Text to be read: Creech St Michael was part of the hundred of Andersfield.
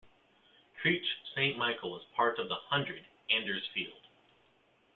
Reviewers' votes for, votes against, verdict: 1, 2, rejected